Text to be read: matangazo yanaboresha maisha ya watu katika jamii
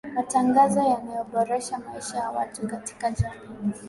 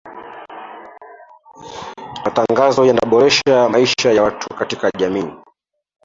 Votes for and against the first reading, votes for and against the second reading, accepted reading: 2, 0, 0, 3, first